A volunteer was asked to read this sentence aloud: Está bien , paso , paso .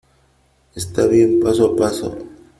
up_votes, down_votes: 2, 1